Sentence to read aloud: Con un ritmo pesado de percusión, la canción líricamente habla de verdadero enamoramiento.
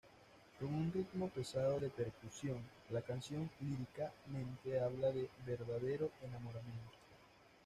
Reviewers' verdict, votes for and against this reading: accepted, 2, 0